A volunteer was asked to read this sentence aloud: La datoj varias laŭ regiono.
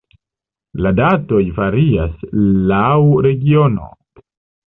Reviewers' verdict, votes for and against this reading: rejected, 0, 2